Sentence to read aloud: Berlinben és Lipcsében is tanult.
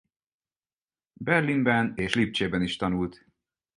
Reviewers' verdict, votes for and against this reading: accepted, 4, 0